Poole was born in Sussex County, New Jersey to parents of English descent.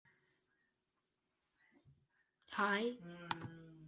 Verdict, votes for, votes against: rejected, 0, 2